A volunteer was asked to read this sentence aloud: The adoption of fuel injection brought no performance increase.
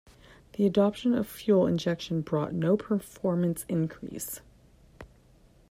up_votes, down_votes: 2, 0